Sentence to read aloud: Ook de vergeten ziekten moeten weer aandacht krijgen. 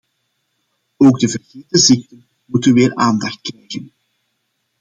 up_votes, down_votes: 0, 2